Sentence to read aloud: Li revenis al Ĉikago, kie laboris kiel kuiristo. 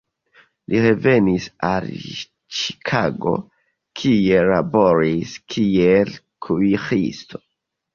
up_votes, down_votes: 2, 0